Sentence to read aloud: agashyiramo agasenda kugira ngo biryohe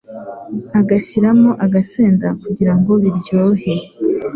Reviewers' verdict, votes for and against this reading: accepted, 2, 0